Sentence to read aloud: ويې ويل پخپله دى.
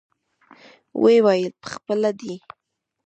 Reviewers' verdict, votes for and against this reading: accepted, 2, 0